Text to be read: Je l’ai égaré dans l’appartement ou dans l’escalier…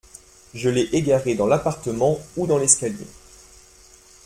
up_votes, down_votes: 2, 0